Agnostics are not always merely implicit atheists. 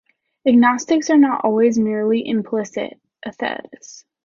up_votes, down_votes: 2, 1